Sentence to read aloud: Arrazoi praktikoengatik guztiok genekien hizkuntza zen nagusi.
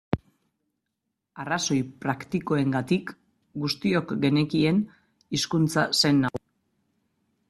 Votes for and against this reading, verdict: 1, 2, rejected